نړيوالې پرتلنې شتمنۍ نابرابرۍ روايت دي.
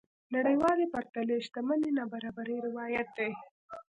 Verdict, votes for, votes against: accepted, 2, 1